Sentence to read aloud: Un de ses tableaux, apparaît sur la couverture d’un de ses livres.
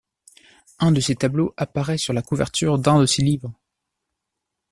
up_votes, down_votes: 2, 1